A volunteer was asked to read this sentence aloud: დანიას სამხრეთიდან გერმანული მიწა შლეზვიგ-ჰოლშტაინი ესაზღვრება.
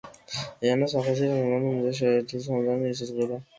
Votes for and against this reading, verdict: 0, 2, rejected